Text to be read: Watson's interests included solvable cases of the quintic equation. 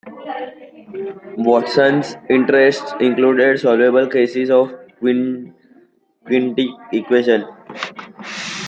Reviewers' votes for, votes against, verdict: 0, 2, rejected